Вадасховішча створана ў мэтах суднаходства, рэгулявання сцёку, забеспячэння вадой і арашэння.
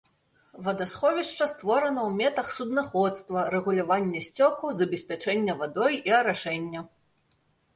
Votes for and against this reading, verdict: 0, 2, rejected